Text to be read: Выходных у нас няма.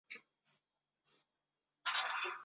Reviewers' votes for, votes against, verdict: 0, 2, rejected